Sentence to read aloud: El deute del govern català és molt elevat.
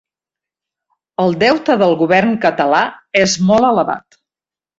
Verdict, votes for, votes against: accepted, 3, 0